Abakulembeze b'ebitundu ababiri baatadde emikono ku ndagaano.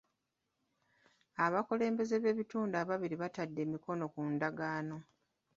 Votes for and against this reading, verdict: 2, 0, accepted